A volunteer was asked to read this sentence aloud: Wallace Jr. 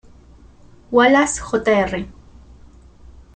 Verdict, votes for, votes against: rejected, 1, 2